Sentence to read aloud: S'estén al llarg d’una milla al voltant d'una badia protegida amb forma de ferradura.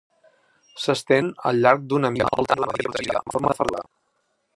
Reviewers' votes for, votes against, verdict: 0, 2, rejected